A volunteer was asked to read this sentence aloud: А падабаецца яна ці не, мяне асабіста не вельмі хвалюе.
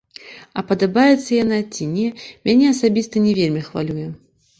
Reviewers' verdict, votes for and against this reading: accepted, 2, 0